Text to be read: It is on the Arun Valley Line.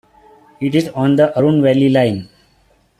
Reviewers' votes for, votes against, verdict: 2, 0, accepted